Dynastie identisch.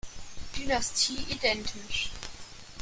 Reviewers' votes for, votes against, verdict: 2, 0, accepted